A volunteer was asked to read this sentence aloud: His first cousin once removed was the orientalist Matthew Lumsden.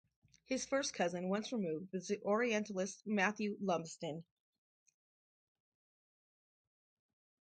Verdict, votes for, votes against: rejected, 2, 2